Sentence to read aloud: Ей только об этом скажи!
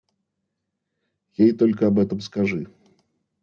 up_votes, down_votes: 2, 0